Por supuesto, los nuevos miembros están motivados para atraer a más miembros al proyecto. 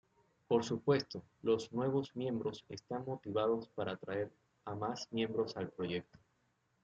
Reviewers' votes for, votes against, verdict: 2, 0, accepted